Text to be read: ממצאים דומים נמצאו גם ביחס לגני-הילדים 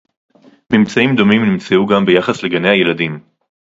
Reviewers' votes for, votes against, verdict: 2, 0, accepted